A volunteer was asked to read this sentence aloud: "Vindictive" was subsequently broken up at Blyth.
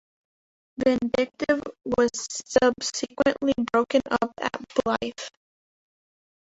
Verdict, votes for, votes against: rejected, 0, 2